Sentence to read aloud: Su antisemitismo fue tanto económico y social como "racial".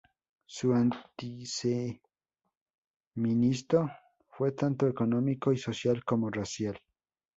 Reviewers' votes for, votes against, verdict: 0, 2, rejected